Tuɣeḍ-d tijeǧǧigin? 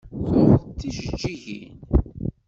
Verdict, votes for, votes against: rejected, 1, 2